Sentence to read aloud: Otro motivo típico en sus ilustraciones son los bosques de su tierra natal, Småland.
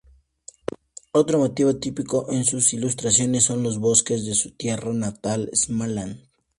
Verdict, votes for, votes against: accepted, 2, 0